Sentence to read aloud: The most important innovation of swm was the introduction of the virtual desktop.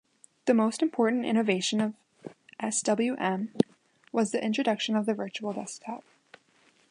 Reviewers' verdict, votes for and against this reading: accepted, 2, 0